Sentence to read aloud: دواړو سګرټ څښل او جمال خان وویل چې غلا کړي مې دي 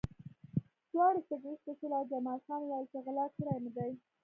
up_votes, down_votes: 0, 2